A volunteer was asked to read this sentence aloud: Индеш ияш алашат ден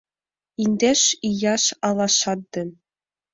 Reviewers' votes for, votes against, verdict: 2, 0, accepted